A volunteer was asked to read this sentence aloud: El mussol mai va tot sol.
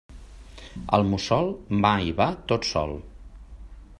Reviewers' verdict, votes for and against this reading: accepted, 2, 0